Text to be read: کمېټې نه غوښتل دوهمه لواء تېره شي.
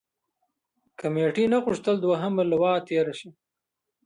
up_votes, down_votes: 1, 2